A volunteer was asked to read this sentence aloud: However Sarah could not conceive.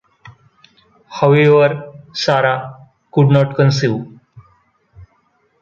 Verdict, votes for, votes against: accepted, 2, 1